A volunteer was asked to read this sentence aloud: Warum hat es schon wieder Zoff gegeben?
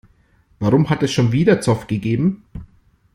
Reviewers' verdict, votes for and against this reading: accepted, 2, 0